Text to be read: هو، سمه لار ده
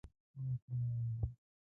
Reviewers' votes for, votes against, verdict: 1, 2, rejected